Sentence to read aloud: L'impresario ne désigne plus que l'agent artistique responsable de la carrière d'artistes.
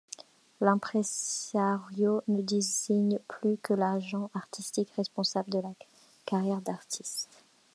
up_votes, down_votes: 0, 2